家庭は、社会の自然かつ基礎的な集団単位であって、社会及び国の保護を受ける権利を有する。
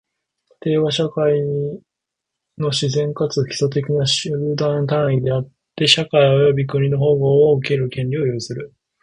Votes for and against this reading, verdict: 2, 1, accepted